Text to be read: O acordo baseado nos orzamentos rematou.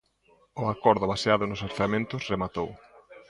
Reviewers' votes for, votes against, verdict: 2, 0, accepted